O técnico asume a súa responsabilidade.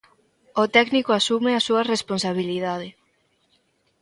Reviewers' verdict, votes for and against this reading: accepted, 3, 0